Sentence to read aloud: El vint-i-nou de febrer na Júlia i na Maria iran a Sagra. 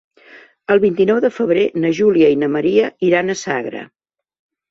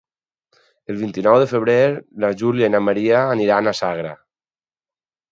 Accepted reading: first